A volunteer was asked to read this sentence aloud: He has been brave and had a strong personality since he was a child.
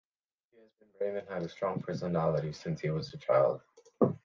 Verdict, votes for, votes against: rejected, 1, 2